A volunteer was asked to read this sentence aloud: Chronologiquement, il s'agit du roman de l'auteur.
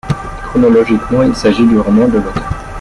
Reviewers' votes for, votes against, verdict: 0, 2, rejected